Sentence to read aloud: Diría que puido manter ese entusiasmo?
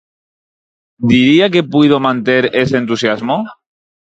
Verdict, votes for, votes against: accepted, 4, 0